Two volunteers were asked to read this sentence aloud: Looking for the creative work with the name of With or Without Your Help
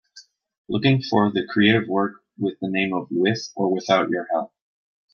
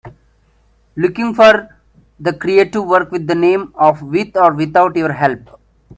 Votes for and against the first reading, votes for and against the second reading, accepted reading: 2, 0, 1, 2, first